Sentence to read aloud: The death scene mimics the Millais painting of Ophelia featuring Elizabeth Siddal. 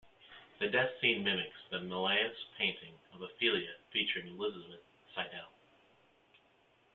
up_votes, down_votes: 2, 1